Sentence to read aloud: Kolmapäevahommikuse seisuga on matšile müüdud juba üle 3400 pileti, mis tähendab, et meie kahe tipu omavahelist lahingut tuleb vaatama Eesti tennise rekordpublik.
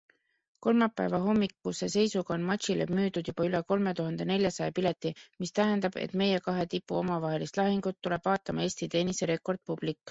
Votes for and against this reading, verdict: 0, 2, rejected